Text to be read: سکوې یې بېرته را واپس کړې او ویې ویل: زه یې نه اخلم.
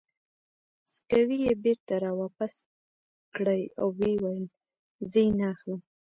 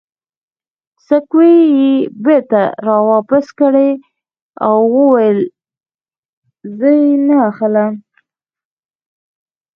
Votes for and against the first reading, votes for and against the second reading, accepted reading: 1, 2, 2, 1, second